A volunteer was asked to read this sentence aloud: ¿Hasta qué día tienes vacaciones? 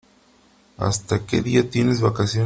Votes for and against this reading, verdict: 0, 3, rejected